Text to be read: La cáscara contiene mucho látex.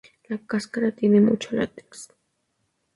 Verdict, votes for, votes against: rejected, 2, 2